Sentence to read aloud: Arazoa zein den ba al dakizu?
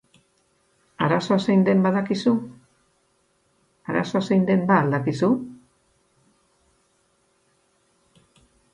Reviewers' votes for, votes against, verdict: 4, 8, rejected